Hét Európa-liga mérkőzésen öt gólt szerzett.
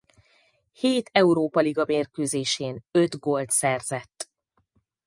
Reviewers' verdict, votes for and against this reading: rejected, 0, 4